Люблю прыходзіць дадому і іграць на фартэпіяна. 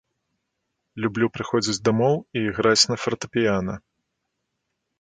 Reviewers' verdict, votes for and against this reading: rejected, 0, 2